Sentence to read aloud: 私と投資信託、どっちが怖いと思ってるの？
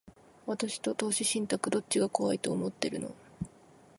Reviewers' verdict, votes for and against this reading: accepted, 2, 0